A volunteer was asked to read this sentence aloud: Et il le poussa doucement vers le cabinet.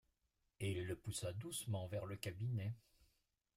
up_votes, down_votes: 1, 2